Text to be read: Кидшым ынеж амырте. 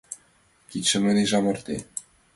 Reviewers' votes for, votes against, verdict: 2, 1, accepted